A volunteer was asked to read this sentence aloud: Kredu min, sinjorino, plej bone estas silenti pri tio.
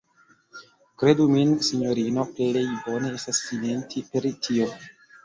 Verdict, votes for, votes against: rejected, 1, 2